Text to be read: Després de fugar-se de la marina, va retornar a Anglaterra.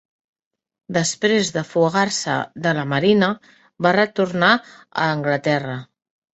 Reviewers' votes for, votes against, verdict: 3, 0, accepted